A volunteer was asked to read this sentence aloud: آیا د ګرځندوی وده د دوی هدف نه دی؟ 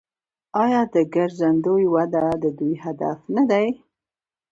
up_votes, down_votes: 1, 2